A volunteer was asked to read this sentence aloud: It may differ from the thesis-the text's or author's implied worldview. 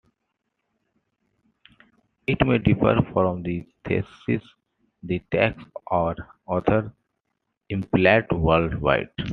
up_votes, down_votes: 2, 0